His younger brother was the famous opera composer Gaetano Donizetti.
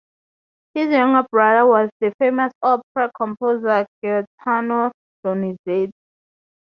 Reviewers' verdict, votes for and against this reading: rejected, 0, 2